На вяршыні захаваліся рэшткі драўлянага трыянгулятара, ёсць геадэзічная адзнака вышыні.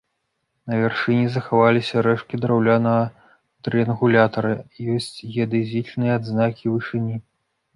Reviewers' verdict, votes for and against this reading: rejected, 0, 2